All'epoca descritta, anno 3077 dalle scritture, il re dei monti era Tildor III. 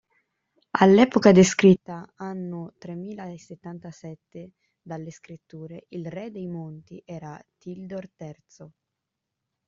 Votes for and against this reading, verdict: 0, 2, rejected